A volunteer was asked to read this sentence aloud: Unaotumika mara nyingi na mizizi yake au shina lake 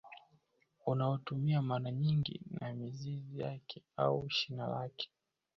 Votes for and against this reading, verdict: 0, 2, rejected